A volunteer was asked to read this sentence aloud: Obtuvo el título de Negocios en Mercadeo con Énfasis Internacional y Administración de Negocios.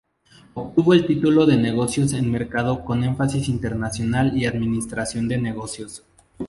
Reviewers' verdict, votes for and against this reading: rejected, 0, 2